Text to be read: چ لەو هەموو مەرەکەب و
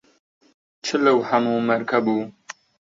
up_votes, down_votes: 1, 2